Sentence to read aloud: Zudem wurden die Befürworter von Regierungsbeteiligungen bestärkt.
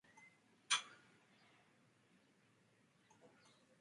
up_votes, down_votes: 0, 2